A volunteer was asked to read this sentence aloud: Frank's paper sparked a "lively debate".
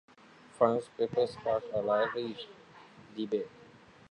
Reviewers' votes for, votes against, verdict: 2, 1, accepted